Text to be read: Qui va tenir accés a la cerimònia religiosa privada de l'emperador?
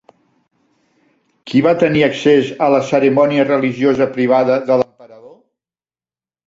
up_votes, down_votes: 1, 2